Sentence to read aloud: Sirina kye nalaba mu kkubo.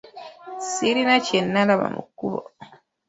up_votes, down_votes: 2, 1